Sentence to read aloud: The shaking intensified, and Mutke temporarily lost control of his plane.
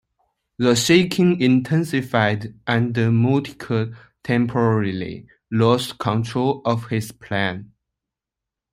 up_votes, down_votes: 2, 1